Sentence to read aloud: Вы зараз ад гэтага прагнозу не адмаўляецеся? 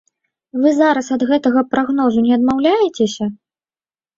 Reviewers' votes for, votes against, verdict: 2, 0, accepted